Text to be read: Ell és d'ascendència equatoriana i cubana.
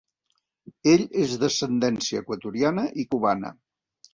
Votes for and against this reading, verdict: 3, 0, accepted